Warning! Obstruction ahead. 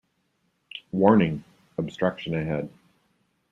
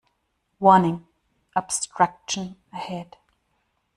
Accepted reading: first